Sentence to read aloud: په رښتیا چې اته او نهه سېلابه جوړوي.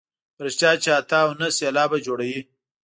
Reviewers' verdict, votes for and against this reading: rejected, 1, 2